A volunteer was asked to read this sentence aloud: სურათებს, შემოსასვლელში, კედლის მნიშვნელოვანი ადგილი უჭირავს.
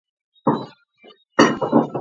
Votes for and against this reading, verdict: 0, 2, rejected